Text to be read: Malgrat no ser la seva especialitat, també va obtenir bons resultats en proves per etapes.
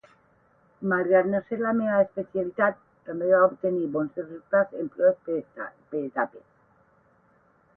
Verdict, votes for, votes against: rejected, 0, 8